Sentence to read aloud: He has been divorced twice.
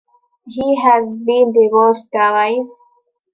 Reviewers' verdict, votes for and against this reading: rejected, 0, 2